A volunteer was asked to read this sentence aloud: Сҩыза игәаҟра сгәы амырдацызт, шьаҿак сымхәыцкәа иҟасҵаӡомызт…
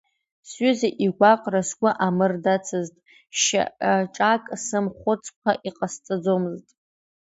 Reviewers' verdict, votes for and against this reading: rejected, 1, 2